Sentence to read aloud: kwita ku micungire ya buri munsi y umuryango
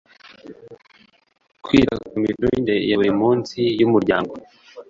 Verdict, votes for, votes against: rejected, 1, 2